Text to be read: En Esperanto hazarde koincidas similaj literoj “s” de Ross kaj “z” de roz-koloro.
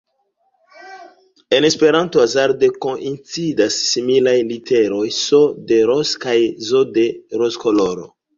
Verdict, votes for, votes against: accepted, 2, 0